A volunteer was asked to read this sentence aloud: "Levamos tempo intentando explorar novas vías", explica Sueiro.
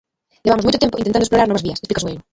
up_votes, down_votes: 0, 2